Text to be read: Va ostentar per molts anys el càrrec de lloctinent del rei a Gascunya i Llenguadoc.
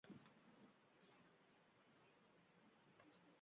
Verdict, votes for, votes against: rejected, 1, 2